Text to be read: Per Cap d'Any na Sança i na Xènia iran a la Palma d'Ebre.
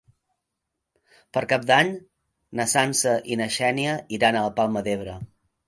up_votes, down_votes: 3, 0